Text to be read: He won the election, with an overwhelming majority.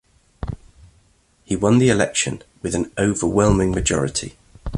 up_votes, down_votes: 2, 1